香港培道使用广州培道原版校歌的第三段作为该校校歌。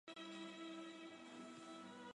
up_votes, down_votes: 0, 3